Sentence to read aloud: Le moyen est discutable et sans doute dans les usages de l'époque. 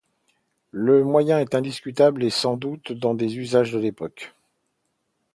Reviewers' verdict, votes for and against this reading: rejected, 0, 2